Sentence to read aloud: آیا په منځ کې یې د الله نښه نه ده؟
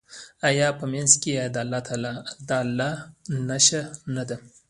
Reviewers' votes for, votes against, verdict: 1, 2, rejected